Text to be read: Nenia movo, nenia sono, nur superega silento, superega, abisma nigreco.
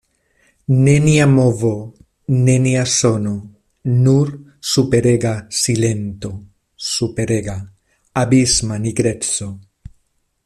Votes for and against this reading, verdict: 2, 0, accepted